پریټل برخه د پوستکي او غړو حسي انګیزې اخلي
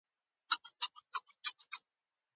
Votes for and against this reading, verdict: 0, 2, rejected